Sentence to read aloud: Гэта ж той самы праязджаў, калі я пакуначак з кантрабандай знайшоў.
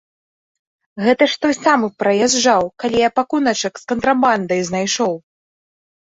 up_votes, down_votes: 2, 0